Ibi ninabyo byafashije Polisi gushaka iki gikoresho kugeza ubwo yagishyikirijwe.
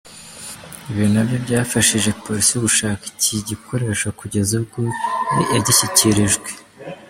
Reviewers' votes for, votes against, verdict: 1, 2, rejected